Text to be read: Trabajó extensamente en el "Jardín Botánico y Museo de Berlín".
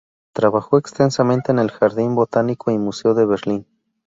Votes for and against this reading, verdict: 2, 0, accepted